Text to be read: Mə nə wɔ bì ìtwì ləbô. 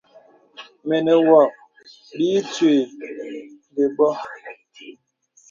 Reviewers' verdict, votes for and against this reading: accepted, 2, 0